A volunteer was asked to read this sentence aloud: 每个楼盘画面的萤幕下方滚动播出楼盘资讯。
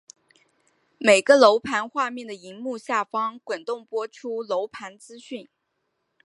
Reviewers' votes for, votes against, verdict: 4, 0, accepted